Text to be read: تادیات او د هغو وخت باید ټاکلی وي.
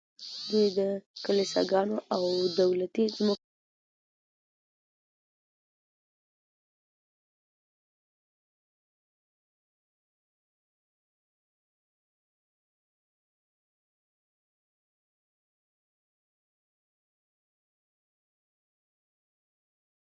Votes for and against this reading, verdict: 1, 2, rejected